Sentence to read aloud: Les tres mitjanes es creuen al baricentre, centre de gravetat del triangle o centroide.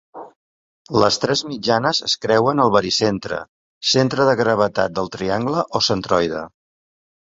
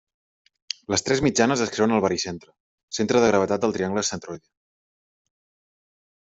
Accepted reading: first